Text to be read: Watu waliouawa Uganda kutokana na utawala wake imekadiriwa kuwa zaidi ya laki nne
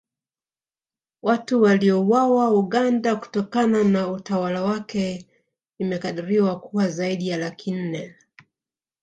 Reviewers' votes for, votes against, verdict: 0, 2, rejected